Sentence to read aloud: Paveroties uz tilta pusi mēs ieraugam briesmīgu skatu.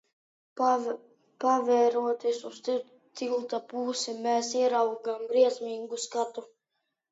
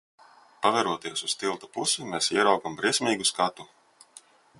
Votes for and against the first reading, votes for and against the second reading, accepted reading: 1, 2, 2, 0, second